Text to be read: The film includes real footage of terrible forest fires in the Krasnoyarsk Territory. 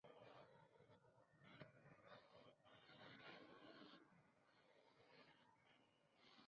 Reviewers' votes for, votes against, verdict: 0, 2, rejected